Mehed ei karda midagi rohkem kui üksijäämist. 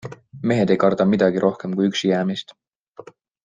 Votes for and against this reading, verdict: 2, 0, accepted